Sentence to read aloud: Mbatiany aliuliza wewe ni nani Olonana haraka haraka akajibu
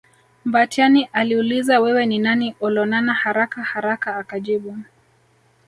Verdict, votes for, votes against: rejected, 0, 2